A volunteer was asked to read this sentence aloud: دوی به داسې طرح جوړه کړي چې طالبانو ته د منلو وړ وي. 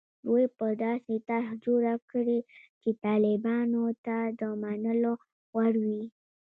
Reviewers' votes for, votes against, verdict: 0, 2, rejected